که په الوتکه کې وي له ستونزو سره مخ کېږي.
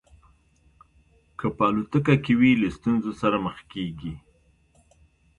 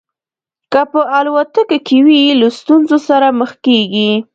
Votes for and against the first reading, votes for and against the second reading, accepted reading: 3, 0, 0, 2, first